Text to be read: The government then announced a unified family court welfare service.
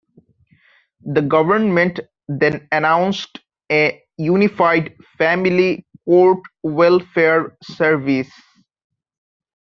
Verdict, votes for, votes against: accepted, 2, 1